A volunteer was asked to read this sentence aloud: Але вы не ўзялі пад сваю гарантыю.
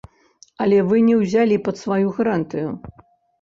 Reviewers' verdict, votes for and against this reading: accepted, 2, 0